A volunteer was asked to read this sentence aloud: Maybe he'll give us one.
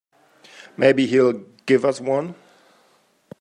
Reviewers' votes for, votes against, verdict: 3, 0, accepted